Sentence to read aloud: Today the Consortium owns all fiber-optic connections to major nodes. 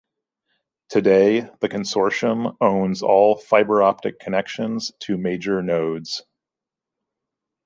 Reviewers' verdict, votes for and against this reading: accepted, 2, 0